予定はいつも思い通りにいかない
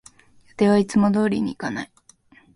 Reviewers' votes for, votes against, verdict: 1, 2, rejected